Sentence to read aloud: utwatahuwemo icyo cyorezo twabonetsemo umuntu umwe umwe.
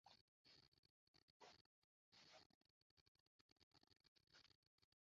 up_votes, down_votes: 0, 2